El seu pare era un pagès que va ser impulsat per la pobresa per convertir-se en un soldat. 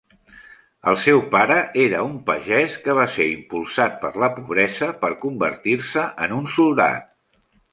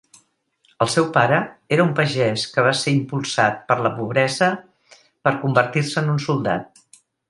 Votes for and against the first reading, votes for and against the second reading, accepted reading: 0, 2, 3, 0, second